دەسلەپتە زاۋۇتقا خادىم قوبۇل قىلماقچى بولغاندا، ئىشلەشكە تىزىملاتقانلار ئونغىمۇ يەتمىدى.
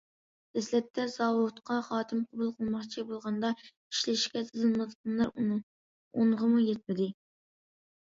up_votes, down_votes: 0, 2